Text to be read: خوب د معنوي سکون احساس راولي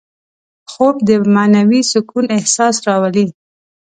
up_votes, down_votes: 2, 0